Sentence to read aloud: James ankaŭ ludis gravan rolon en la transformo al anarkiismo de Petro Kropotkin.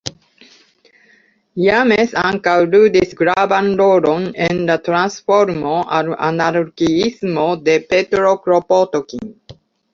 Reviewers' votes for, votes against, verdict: 2, 1, accepted